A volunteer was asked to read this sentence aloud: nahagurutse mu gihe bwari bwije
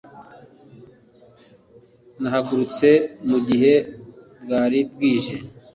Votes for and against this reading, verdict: 2, 0, accepted